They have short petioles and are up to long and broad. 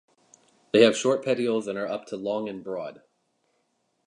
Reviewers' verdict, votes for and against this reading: rejected, 1, 2